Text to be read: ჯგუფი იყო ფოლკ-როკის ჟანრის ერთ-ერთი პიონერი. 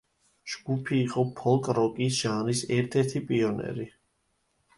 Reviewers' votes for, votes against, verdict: 2, 0, accepted